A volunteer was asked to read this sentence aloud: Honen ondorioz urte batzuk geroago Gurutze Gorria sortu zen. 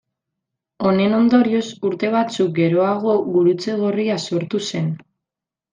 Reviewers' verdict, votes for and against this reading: accepted, 2, 0